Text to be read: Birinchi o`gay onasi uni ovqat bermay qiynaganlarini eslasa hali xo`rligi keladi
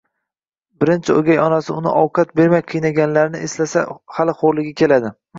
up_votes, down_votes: 2, 0